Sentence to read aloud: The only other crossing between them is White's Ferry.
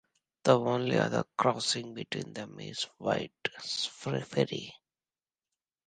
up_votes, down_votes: 2, 1